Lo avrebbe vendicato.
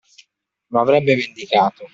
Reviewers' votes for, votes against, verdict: 2, 0, accepted